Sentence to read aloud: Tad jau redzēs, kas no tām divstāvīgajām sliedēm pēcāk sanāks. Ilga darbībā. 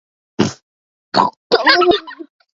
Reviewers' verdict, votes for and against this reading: rejected, 0, 2